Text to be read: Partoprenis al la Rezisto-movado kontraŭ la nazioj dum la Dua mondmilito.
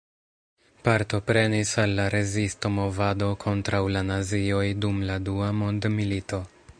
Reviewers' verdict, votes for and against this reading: rejected, 1, 2